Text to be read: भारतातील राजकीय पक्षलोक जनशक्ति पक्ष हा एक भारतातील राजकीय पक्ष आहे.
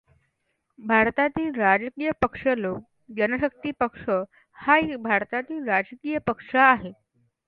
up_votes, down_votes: 2, 0